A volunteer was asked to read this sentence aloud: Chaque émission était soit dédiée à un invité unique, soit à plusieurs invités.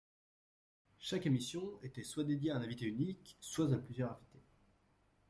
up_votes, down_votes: 1, 2